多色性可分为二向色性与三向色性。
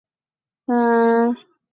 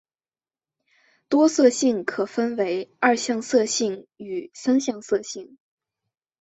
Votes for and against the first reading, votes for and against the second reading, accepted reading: 0, 2, 2, 0, second